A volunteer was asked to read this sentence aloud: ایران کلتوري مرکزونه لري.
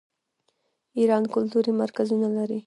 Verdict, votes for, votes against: rejected, 0, 2